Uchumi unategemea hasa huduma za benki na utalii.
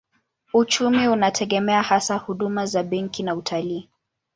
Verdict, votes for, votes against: accepted, 2, 0